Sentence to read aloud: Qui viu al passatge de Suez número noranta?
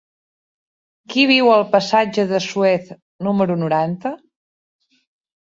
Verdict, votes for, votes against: accepted, 3, 0